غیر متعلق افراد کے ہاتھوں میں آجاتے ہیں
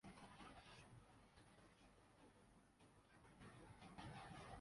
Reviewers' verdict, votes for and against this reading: rejected, 0, 2